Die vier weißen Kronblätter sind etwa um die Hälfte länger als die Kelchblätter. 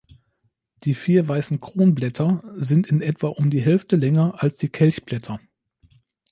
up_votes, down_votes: 1, 2